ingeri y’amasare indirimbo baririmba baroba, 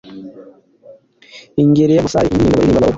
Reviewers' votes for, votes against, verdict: 1, 2, rejected